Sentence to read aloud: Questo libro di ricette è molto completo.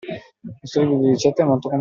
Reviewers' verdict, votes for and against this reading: rejected, 0, 2